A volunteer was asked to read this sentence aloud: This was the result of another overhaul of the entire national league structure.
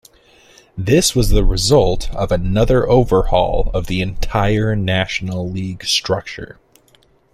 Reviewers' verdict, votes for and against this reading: accepted, 2, 0